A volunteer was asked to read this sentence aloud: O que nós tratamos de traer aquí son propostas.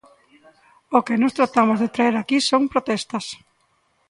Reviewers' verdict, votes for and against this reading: rejected, 0, 2